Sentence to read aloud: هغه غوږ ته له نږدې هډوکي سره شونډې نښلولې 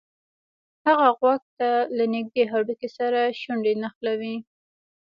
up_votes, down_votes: 2, 0